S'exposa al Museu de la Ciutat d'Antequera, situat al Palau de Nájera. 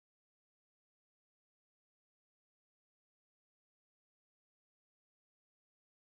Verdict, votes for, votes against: rejected, 0, 2